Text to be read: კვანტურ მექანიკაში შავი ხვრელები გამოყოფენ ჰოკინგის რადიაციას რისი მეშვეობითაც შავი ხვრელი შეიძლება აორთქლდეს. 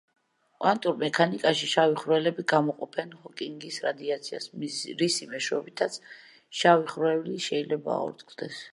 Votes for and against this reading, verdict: 0, 2, rejected